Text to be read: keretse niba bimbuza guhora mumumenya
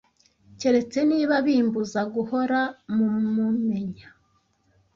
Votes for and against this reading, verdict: 0, 2, rejected